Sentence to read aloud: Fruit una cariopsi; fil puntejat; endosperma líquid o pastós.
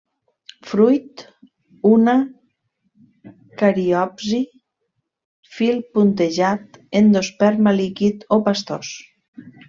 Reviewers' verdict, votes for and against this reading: rejected, 1, 2